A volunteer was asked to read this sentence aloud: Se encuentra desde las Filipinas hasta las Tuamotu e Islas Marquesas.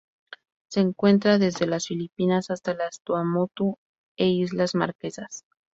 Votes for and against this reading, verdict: 4, 0, accepted